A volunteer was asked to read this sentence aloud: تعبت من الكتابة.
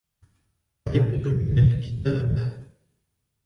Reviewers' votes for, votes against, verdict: 1, 2, rejected